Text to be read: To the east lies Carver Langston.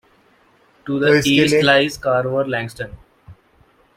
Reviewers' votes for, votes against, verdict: 0, 2, rejected